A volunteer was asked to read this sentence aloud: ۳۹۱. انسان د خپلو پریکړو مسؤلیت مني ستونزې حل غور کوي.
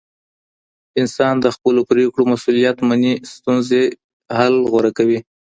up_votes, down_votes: 0, 2